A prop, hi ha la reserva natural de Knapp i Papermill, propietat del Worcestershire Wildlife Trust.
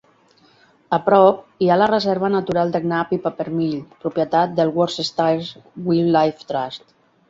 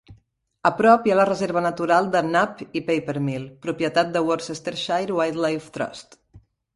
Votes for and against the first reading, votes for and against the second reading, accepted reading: 0, 2, 2, 0, second